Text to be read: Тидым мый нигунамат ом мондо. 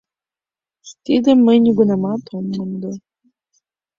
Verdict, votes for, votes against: accepted, 2, 0